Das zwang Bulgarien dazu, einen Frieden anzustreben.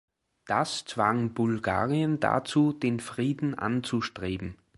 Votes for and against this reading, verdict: 0, 2, rejected